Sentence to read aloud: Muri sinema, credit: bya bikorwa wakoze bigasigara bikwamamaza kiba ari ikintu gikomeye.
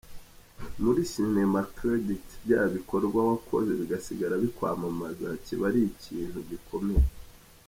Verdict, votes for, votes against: rejected, 1, 2